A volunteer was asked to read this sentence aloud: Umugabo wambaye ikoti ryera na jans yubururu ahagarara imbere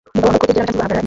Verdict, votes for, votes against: rejected, 1, 2